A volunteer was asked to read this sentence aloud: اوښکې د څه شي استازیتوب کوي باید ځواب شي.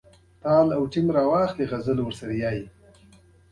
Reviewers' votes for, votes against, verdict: 0, 2, rejected